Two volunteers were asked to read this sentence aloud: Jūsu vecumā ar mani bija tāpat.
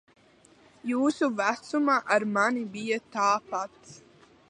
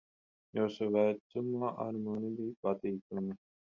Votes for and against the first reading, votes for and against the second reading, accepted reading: 2, 0, 0, 10, first